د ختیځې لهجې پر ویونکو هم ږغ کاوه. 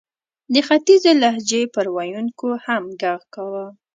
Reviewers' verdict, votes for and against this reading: rejected, 1, 2